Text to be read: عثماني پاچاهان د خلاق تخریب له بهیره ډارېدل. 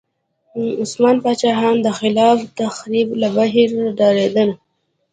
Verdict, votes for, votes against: accepted, 2, 1